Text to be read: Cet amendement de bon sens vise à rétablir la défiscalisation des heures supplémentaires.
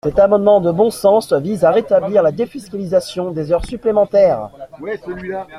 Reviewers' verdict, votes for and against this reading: accepted, 2, 0